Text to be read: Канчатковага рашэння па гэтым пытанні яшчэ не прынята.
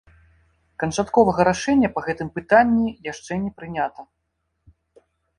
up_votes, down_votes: 2, 0